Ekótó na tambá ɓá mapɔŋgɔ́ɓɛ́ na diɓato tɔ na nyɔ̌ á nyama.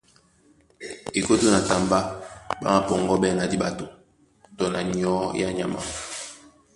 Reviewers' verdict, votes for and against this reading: accepted, 2, 0